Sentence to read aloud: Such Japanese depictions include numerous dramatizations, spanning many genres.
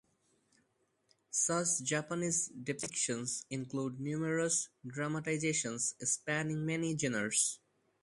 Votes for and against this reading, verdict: 0, 4, rejected